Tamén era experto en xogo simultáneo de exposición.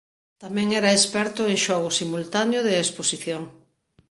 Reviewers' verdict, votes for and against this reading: accepted, 2, 0